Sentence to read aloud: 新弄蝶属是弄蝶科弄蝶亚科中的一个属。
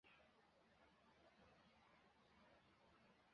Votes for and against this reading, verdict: 0, 2, rejected